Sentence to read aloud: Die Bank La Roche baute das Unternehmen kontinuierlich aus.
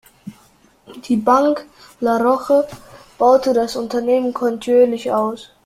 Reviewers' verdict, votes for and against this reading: rejected, 1, 3